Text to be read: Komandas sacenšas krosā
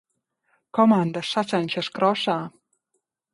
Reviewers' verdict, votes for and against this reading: rejected, 1, 2